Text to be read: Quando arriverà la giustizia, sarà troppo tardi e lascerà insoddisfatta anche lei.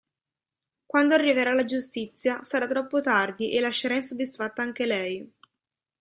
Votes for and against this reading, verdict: 2, 0, accepted